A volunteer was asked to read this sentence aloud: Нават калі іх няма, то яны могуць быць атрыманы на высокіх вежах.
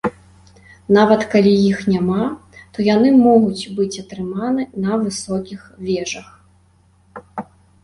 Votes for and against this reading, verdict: 2, 0, accepted